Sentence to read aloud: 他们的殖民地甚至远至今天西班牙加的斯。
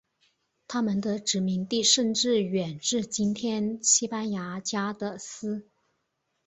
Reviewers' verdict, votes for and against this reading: accepted, 8, 0